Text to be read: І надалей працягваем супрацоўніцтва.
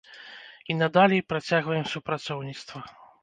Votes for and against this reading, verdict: 1, 2, rejected